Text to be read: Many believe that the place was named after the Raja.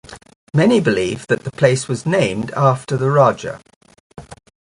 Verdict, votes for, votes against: accepted, 2, 0